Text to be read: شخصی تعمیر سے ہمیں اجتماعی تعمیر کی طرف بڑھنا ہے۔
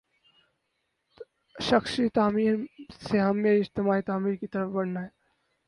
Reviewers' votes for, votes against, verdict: 2, 2, rejected